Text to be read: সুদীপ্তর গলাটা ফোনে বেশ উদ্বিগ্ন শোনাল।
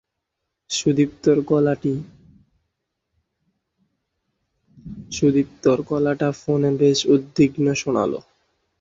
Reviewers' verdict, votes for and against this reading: rejected, 0, 2